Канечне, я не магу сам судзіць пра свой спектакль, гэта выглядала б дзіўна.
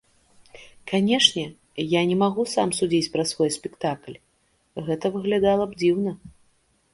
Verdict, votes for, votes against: accepted, 3, 0